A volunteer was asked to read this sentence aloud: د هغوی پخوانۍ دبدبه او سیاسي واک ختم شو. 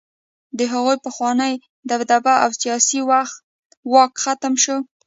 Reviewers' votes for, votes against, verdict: 0, 2, rejected